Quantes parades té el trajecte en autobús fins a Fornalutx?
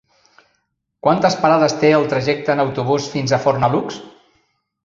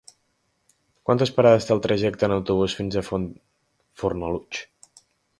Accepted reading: first